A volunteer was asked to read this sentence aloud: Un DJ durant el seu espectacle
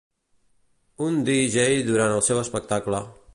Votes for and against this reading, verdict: 2, 0, accepted